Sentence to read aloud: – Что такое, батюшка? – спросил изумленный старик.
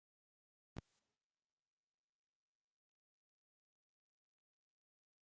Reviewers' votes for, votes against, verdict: 0, 2, rejected